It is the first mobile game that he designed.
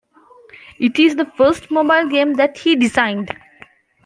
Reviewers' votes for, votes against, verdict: 2, 0, accepted